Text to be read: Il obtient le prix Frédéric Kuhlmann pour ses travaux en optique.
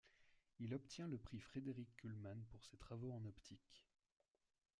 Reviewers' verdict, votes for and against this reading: rejected, 1, 2